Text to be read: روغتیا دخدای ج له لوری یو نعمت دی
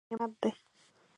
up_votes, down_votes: 1, 2